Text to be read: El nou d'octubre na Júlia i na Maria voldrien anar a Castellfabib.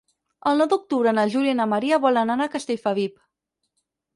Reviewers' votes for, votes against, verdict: 2, 4, rejected